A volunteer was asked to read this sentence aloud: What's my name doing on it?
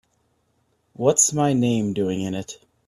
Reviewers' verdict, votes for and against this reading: rejected, 1, 2